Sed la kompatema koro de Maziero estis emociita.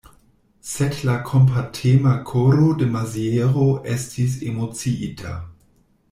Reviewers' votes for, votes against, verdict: 2, 0, accepted